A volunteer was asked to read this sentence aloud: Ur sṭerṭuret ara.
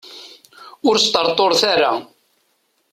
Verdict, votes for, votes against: accepted, 2, 0